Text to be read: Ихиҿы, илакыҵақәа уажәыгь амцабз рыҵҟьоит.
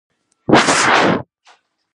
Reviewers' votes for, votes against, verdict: 0, 2, rejected